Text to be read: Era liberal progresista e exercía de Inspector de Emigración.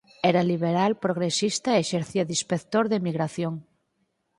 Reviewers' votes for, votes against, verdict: 4, 0, accepted